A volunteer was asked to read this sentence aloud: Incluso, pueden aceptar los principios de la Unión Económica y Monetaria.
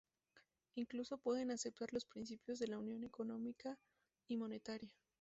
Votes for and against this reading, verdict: 2, 0, accepted